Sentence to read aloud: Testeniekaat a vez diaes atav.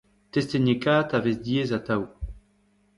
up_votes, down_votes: 1, 2